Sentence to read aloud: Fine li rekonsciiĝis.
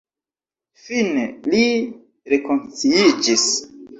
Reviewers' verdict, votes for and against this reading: rejected, 1, 2